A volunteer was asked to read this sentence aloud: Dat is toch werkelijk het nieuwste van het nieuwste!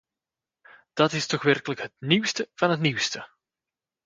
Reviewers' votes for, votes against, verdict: 2, 0, accepted